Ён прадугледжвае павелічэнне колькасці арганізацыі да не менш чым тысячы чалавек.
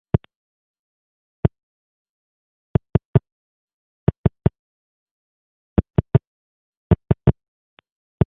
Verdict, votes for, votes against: rejected, 0, 2